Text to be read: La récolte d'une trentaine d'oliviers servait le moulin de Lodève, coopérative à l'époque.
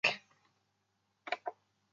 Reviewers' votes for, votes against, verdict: 0, 2, rejected